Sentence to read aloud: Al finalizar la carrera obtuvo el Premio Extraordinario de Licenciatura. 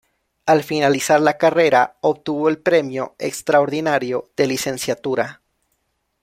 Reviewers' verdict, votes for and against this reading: accepted, 2, 0